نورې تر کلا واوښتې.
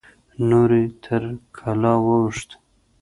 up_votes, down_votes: 2, 0